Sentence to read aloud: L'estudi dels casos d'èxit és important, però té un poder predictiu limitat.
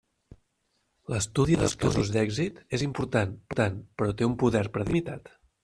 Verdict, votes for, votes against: rejected, 0, 2